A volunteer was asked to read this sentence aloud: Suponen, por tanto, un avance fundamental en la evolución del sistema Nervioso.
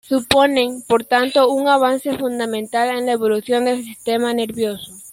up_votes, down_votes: 1, 2